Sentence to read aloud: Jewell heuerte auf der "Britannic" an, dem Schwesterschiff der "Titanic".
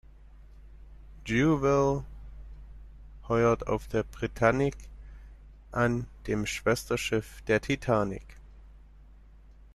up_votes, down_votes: 0, 2